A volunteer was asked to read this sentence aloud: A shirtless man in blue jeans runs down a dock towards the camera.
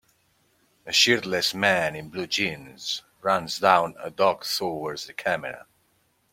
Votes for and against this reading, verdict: 2, 1, accepted